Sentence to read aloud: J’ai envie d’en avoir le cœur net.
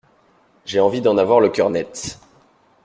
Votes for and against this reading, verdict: 2, 0, accepted